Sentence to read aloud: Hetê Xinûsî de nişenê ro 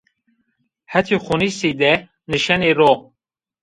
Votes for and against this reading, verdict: 1, 2, rejected